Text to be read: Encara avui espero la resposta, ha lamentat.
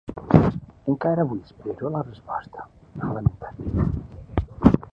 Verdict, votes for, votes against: rejected, 1, 2